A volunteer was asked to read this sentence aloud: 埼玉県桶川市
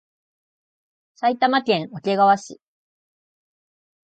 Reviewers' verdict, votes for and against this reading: accepted, 7, 1